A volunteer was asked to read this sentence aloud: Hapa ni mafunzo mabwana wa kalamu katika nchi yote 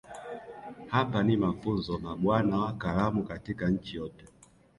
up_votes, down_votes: 1, 2